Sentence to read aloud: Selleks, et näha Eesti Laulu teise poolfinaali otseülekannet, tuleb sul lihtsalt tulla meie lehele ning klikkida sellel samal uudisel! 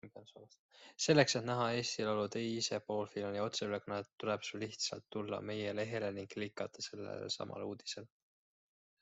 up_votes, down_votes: 2, 1